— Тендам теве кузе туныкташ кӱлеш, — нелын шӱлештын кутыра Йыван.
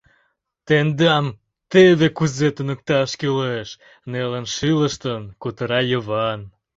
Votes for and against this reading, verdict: 0, 2, rejected